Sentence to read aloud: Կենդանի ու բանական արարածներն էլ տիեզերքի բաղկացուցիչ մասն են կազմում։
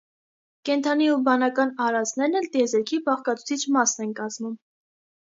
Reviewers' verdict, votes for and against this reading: rejected, 0, 2